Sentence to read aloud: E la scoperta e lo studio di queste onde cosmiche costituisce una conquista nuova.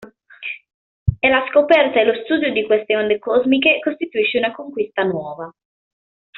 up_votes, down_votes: 2, 0